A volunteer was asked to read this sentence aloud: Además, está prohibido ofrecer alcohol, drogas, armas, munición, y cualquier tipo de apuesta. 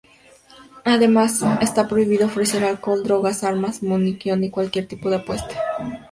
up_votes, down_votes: 2, 0